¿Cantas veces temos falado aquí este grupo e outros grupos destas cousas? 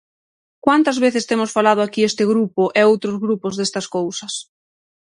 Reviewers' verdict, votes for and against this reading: rejected, 3, 6